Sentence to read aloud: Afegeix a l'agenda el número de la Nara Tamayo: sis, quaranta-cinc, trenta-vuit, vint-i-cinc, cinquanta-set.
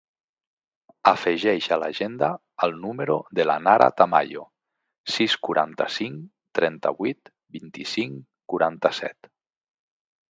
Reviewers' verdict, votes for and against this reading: rejected, 0, 2